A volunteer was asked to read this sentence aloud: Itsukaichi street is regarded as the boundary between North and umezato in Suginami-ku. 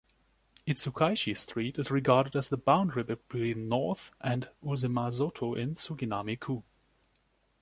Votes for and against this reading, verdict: 2, 1, accepted